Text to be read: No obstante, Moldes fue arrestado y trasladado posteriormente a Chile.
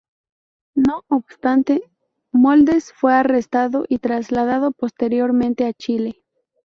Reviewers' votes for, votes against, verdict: 0, 2, rejected